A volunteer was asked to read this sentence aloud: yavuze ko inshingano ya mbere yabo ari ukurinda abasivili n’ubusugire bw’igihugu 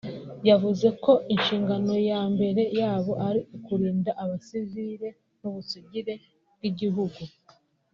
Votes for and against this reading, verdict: 2, 0, accepted